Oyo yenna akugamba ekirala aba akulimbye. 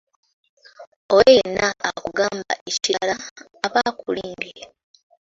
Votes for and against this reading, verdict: 0, 2, rejected